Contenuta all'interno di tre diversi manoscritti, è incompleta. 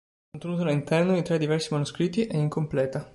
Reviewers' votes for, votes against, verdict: 2, 3, rejected